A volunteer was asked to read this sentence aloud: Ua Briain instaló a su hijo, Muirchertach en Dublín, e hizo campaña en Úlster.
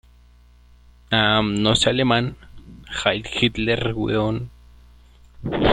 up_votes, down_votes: 0, 2